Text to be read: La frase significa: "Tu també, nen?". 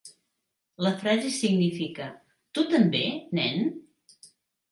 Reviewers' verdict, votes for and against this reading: accepted, 3, 0